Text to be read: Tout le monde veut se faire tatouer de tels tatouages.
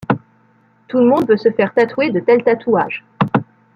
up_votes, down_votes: 0, 2